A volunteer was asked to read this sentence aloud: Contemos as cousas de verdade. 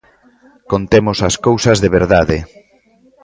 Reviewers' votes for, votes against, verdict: 2, 0, accepted